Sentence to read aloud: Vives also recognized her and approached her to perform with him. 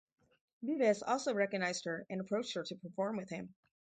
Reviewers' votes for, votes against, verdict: 4, 0, accepted